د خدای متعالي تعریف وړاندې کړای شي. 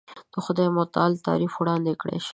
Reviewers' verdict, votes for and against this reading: accepted, 2, 0